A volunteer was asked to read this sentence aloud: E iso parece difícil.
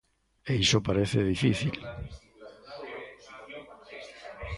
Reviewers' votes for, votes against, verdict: 1, 2, rejected